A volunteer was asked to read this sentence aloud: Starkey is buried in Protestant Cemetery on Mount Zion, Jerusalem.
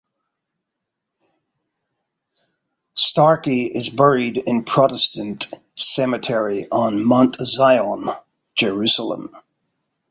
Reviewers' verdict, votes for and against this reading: accepted, 2, 0